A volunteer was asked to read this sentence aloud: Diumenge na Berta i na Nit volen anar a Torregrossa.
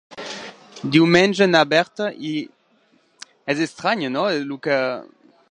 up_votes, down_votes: 0, 2